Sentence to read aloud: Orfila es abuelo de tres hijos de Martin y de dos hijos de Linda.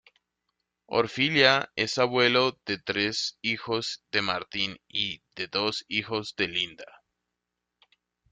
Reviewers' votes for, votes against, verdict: 1, 2, rejected